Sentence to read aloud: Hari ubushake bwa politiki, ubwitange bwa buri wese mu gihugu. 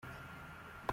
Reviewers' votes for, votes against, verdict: 0, 2, rejected